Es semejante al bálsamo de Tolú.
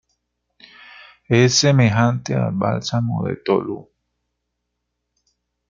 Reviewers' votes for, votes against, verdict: 2, 1, accepted